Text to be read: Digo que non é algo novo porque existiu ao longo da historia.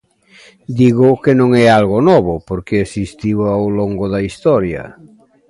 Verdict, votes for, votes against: accepted, 3, 0